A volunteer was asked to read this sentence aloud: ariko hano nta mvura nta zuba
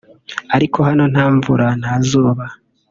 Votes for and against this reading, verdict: 0, 2, rejected